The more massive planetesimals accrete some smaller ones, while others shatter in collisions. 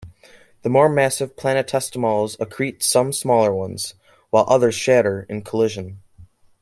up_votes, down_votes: 0, 2